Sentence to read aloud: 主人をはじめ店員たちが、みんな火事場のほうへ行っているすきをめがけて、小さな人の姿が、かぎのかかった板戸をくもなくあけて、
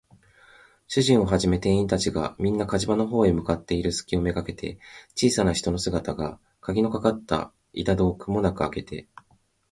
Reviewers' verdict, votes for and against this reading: rejected, 1, 2